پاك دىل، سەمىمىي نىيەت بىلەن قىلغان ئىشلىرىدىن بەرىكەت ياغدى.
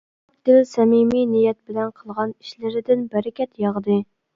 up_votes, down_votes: 1, 2